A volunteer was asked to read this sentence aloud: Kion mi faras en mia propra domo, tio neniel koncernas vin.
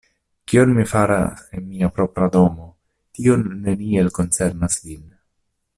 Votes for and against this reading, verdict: 0, 2, rejected